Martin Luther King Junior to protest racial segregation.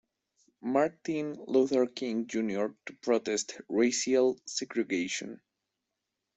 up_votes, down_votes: 2, 0